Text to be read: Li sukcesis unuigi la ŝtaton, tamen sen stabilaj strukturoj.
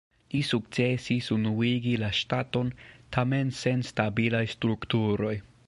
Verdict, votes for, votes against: accepted, 2, 1